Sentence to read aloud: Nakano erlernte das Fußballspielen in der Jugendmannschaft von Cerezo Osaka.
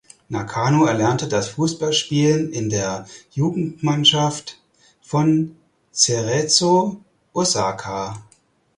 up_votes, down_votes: 4, 0